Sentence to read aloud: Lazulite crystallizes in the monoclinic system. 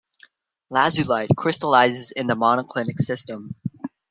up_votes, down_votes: 2, 0